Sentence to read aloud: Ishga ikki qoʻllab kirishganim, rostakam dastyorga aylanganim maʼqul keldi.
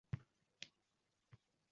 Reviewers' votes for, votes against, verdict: 0, 2, rejected